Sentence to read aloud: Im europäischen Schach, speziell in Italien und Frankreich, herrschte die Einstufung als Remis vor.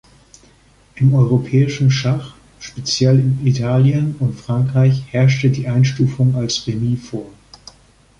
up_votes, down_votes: 2, 0